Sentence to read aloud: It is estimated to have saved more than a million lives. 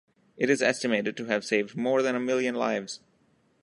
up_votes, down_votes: 2, 1